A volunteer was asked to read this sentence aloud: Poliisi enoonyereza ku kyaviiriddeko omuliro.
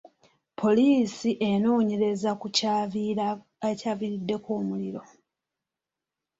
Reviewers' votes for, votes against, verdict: 2, 0, accepted